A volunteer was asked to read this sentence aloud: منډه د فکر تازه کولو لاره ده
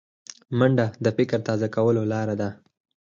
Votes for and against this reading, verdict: 6, 2, accepted